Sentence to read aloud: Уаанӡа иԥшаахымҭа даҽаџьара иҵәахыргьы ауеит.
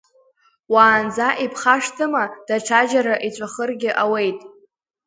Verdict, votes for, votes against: accepted, 2, 1